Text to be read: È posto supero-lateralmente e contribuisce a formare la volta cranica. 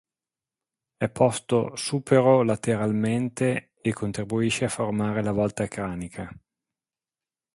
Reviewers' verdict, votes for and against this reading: accepted, 6, 0